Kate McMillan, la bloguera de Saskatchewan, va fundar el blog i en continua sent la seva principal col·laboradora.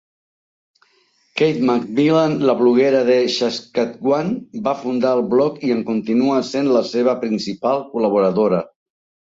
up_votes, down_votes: 3, 1